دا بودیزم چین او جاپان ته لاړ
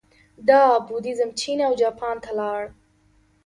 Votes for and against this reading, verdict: 2, 0, accepted